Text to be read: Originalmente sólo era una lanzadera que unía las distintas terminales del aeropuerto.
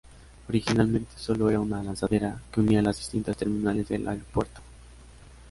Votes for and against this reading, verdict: 2, 0, accepted